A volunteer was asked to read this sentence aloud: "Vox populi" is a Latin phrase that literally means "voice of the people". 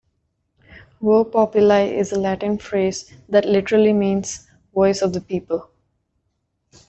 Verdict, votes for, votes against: rejected, 1, 2